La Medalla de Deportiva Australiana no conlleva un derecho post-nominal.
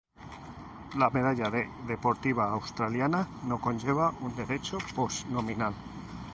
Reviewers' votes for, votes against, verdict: 0, 2, rejected